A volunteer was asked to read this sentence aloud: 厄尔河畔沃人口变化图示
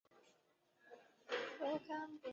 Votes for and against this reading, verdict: 0, 3, rejected